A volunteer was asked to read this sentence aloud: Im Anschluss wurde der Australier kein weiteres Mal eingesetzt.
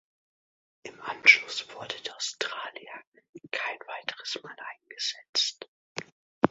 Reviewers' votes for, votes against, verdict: 2, 1, accepted